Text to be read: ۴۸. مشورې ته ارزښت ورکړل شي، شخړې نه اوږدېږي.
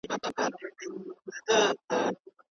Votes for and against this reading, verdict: 0, 2, rejected